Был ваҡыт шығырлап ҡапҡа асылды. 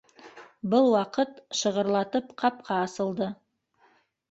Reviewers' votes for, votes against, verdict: 1, 2, rejected